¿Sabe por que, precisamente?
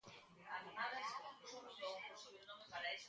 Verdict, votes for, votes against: rejected, 0, 3